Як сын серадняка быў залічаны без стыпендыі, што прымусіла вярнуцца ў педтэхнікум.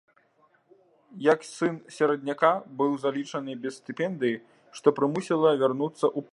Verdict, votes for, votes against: rejected, 0, 2